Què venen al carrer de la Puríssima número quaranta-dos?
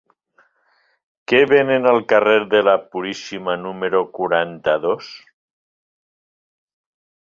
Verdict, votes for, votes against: rejected, 1, 2